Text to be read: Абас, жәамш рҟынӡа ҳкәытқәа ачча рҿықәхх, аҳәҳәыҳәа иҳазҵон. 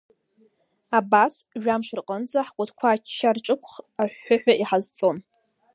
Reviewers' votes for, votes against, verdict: 2, 1, accepted